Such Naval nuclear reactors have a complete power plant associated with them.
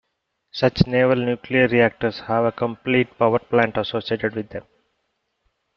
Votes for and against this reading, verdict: 2, 0, accepted